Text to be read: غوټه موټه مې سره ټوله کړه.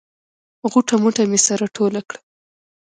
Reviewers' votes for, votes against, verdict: 3, 0, accepted